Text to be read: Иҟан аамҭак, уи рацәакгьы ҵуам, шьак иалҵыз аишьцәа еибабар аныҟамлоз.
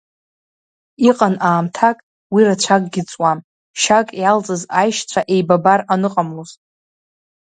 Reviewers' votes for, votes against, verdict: 2, 0, accepted